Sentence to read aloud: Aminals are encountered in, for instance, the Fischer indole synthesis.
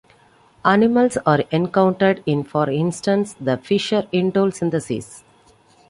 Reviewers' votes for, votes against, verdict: 0, 2, rejected